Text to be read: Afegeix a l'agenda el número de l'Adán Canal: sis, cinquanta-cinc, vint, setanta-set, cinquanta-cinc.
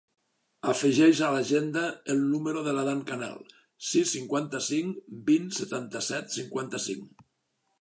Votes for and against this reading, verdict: 2, 0, accepted